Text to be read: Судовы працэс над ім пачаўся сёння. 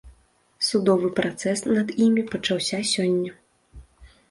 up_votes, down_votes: 0, 2